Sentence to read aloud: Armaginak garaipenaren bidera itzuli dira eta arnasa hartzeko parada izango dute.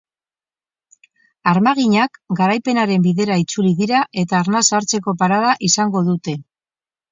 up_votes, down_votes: 4, 0